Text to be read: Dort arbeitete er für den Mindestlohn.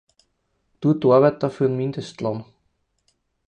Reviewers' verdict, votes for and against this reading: rejected, 2, 4